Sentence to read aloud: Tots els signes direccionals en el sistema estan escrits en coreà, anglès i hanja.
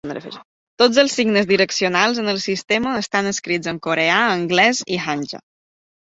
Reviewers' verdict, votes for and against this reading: accepted, 4, 0